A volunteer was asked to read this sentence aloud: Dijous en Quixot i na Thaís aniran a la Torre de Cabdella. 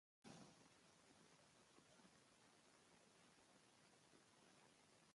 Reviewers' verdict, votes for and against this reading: rejected, 0, 2